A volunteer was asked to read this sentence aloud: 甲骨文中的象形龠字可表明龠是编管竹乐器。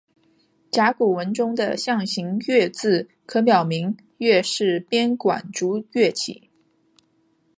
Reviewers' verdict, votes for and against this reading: accepted, 3, 0